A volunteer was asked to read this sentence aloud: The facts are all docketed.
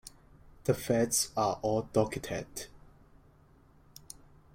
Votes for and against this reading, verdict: 1, 2, rejected